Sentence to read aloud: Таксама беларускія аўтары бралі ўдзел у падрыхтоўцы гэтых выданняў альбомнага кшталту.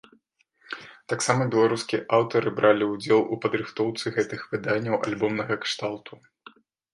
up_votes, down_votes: 2, 0